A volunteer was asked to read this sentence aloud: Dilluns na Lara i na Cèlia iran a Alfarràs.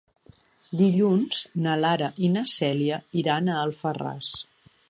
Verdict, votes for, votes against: accepted, 3, 0